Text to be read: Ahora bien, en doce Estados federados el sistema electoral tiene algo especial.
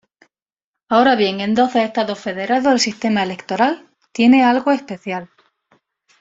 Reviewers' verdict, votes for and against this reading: accepted, 2, 0